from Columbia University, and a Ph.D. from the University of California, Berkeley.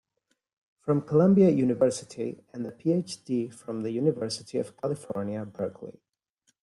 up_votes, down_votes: 2, 1